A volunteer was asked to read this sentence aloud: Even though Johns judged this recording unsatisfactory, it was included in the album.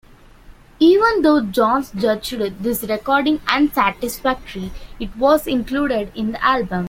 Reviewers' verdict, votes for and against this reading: rejected, 1, 2